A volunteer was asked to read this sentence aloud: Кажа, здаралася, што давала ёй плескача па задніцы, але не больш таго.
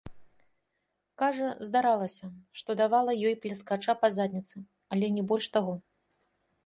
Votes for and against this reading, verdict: 1, 2, rejected